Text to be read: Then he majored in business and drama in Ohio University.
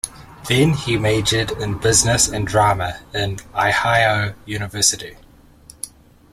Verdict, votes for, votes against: rejected, 1, 2